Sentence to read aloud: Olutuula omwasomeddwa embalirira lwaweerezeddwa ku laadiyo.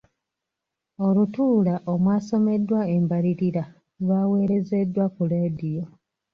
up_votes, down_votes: 2, 3